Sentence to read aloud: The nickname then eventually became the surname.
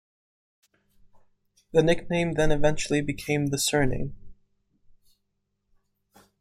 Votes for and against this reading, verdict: 2, 0, accepted